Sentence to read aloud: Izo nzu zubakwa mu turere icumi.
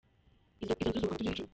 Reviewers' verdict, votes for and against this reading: rejected, 0, 2